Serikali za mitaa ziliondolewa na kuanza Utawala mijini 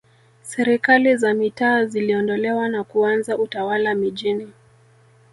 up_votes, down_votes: 0, 2